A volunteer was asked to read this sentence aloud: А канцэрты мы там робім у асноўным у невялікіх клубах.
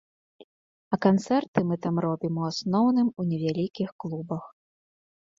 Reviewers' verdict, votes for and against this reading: accepted, 2, 0